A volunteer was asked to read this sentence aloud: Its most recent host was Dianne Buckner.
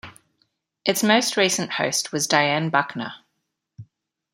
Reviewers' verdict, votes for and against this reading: accepted, 2, 0